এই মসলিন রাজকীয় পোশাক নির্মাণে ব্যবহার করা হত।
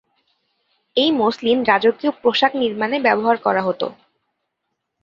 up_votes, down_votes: 4, 0